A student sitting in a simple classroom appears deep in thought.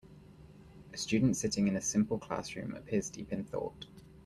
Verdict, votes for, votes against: accepted, 2, 0